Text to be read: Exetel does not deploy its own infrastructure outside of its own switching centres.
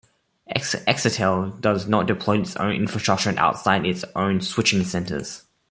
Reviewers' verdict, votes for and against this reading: accepted, 2, 1